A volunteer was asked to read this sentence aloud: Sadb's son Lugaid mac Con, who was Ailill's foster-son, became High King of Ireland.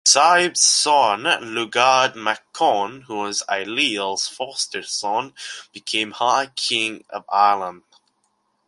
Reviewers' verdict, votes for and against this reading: accepted, 2, 0